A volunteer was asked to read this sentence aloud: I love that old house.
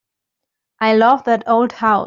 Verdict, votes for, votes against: rejected, 0, 2